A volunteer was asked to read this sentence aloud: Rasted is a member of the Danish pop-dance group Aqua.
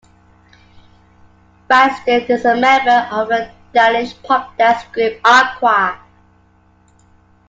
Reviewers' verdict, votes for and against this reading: accepted, 2, 1